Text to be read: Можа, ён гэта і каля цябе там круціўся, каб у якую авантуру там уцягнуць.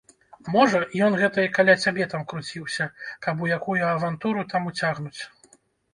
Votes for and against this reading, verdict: 1, 2, rejected